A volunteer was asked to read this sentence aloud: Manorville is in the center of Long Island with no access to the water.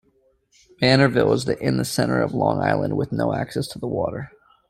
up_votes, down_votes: 0, 2